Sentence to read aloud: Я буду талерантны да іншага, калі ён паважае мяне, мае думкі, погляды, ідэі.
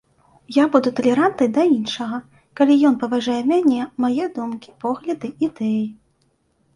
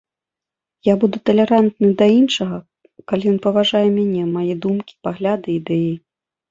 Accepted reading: first